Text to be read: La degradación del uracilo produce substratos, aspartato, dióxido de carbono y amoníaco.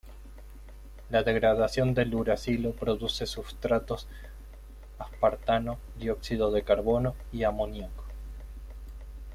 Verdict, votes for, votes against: rejected, 1, 2